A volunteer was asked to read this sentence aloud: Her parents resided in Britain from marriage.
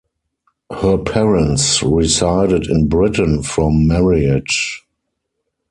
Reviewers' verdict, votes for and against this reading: rejected, 2, 4